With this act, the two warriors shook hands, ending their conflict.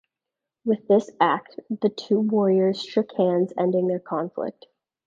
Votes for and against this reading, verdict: 2, 0, accepted